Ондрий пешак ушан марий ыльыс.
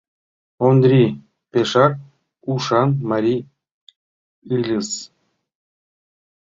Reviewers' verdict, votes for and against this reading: rejected, 2, 3